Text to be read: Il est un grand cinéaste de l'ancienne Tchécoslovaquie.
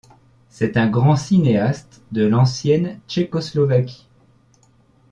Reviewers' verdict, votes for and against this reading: rejected, 0, 2